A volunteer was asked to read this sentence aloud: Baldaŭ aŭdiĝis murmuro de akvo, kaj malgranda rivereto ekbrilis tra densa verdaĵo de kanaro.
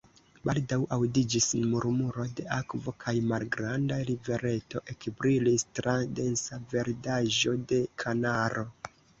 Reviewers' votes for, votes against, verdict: 1, 2, rejected